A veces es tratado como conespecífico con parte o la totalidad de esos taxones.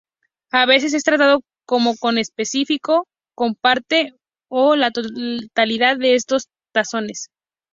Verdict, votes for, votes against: accepted, 4, 0